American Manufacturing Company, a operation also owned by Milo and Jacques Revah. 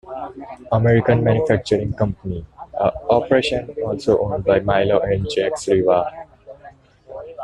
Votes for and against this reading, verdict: 2, 0, accepted